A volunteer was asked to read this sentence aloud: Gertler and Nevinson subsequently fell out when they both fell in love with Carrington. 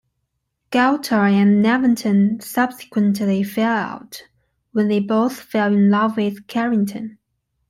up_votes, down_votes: 2, 1